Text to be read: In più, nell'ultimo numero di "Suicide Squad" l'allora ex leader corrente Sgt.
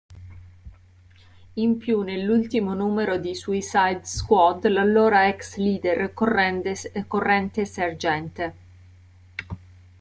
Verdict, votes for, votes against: rejected, 0, 2